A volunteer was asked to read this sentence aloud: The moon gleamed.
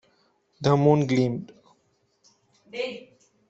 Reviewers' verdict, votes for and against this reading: rejected, 1, 2